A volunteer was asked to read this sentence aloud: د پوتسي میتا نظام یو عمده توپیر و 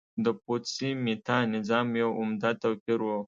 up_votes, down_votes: 2, 0